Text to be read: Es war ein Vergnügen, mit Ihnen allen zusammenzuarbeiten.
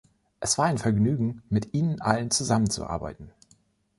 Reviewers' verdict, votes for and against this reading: accepted, 2, 0